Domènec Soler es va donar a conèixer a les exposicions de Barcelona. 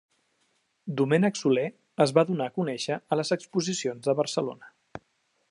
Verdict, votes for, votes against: accepted, 2, 0